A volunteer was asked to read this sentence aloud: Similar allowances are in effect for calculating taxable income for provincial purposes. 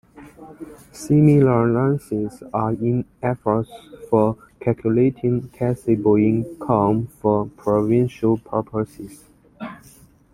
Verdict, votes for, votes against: rejected, 1, 2